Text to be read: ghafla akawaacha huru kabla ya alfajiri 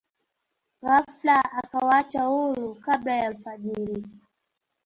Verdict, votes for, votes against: rejected, 0, 2